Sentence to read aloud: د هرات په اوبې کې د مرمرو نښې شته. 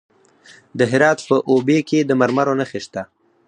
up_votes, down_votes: 0, 4